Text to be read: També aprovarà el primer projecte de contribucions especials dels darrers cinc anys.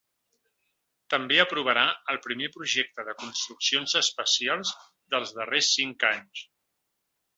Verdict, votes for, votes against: rejected, 0, 3